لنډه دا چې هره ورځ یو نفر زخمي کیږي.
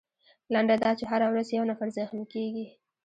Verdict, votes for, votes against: rejected, 0, 2